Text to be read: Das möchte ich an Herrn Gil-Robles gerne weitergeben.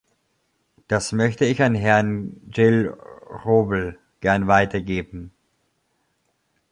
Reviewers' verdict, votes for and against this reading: rejected, 1, 2